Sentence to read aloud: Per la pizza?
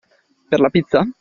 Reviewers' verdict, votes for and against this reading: accepted, 2, 0